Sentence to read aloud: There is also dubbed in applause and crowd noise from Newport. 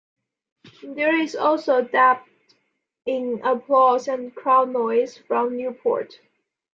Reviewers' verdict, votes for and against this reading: accepted, 2, 0